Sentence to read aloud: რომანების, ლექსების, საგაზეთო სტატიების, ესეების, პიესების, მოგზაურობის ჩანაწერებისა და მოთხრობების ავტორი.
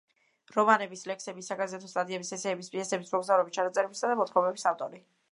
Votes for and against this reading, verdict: 2, 0, accepted